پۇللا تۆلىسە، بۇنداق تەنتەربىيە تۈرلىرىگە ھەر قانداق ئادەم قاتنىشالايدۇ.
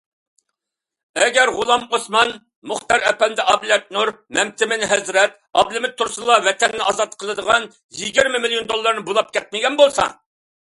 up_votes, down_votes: 0, 2